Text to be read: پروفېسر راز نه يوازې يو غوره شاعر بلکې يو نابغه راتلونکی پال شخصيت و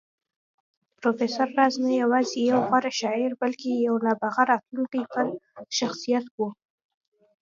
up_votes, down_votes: 2, 0